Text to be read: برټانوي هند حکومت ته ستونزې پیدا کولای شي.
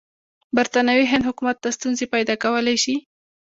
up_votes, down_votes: 2, 0